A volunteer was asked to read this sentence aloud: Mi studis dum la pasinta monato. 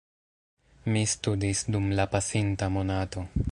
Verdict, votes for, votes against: accepted, 2, 1